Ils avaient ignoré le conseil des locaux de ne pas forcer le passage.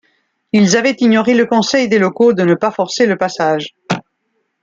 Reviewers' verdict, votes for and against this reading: accepted, 2, 0